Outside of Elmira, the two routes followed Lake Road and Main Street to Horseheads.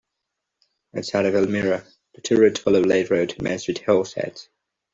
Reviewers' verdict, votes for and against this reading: rejected, 1, 2